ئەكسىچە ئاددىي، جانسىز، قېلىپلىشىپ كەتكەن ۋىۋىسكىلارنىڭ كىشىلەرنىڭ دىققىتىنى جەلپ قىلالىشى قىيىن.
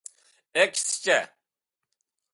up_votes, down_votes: 0, 2